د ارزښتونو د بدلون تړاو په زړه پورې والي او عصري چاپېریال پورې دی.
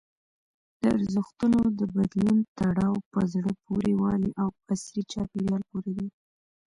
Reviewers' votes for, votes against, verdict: 1, 2, rejected